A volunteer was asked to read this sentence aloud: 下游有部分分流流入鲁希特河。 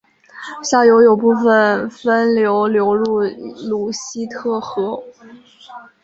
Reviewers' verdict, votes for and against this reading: rejected, 2, 2